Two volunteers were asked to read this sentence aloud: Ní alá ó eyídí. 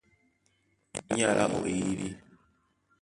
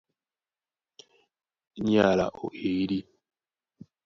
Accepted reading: first